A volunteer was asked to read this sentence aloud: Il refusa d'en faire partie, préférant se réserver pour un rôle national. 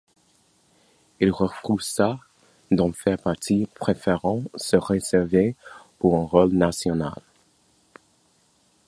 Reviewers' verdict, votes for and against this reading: rejected, 1, 2